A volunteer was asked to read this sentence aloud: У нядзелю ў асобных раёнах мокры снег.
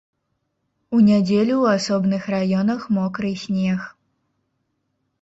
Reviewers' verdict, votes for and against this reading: accepted, 2, 0